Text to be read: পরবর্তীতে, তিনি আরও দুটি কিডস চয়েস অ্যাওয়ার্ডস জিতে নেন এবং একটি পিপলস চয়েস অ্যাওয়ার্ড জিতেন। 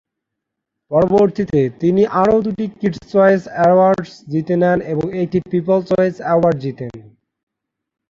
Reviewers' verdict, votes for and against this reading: accepted, 3, 0